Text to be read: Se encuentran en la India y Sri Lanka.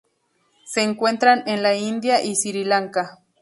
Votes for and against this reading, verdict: 0, 2, rejected